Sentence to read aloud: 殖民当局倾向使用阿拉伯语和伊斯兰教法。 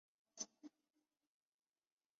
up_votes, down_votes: 1, 2